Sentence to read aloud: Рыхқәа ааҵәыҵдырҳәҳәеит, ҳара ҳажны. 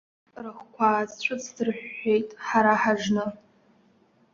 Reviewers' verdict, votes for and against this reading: accepted, 2, 0